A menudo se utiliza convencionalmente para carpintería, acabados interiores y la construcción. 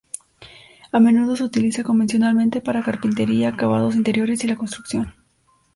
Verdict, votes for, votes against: accepted, 2, 0